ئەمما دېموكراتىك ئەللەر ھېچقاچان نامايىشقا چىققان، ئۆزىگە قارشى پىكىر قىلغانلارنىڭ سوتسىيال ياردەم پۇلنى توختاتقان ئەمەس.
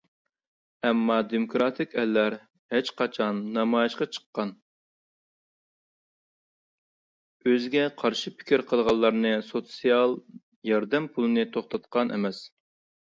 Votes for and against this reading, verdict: 0, 2, rejected